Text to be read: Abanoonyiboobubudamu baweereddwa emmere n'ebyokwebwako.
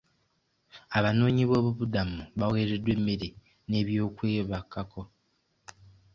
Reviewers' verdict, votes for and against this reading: accepted, 2, 1